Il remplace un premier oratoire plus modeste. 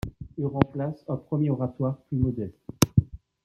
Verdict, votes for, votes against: accepted, 2, 0